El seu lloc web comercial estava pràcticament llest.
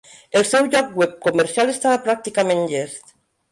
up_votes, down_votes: 1, 2